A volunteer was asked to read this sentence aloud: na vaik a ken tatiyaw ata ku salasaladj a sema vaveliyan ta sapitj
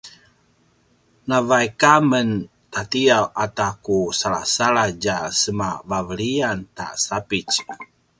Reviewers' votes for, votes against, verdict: 1, 2, rejected